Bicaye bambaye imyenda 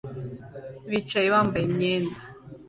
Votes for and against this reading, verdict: 2, 0, accepted